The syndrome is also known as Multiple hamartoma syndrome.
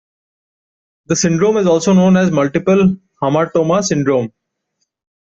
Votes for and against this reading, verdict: 2, 0, accepted